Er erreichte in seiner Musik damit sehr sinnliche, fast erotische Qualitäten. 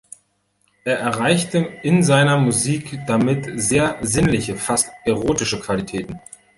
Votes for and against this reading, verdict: 2, 0, accepted